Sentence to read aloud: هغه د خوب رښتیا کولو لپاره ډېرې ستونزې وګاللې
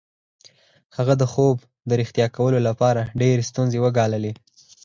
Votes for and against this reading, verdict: 4, 0, accepted